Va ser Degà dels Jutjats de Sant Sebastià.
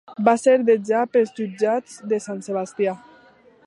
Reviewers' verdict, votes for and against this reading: rejected, 1, 2